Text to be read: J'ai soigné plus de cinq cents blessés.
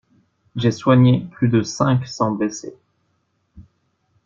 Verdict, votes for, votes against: accepted, 2, 0